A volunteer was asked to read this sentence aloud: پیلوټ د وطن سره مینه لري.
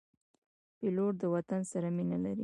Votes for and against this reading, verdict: 2, 1, accepted